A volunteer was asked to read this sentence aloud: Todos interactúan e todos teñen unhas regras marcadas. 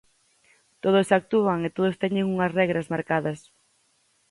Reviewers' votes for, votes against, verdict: 0, 4, rejected